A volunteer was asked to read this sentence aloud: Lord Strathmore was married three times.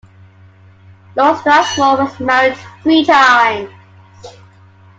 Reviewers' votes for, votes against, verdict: 2, 1, accepted